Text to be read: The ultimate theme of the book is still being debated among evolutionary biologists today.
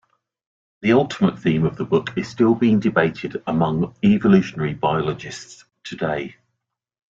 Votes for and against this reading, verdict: 2, 0, accepted